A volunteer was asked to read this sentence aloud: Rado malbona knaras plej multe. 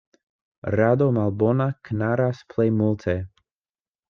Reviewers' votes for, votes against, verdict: 2, 0, accepted